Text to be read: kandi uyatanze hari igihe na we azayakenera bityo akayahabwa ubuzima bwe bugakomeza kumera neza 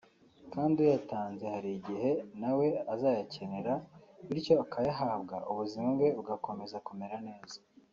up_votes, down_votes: 2, 0